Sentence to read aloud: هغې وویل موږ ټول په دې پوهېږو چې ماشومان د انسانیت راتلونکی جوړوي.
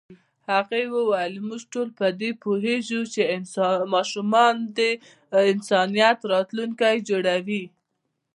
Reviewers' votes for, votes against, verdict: 0, 2, rejected